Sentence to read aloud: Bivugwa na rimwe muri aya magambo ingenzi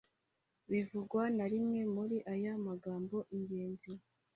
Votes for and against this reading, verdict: 2, 0, accepted